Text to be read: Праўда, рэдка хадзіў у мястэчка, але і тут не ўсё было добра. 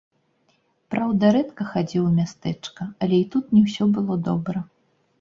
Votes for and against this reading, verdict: 1, 2, rejected